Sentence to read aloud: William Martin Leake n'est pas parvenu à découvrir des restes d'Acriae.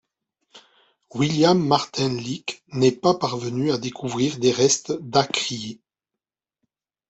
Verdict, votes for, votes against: accepted, 2, 0